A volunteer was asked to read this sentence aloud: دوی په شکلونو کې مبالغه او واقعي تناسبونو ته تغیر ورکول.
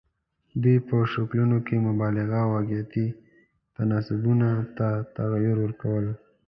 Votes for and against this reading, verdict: 1, 2, rejected